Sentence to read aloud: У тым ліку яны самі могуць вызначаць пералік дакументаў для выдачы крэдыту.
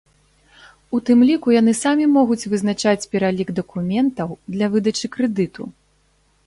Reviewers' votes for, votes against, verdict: 3, 0, accepted